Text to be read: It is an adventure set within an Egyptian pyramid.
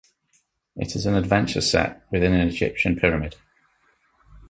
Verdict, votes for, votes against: accepted, 2, 1